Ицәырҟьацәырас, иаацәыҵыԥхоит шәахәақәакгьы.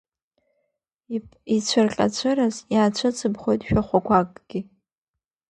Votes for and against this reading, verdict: 2, 0, accepted